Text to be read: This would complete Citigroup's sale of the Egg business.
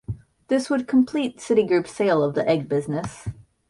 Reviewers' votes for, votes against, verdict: 2, 0, accepted